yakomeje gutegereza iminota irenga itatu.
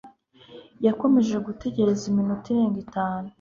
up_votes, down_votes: 1, 2